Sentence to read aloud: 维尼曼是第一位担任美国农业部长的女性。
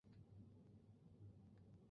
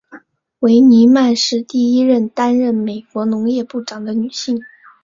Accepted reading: second